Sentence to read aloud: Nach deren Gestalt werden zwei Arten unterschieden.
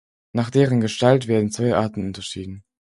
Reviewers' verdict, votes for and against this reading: accepted, 4, 0